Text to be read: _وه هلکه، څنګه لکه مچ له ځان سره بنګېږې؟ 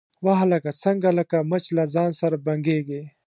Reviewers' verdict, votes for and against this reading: accepted, 2, 0